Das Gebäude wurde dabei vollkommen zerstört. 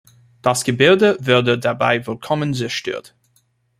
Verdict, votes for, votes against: rejected, 0, 2